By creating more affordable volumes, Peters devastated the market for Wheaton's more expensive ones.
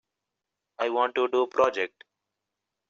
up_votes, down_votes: 0, 2